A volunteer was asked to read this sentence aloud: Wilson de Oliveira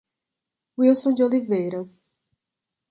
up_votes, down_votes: 2, 0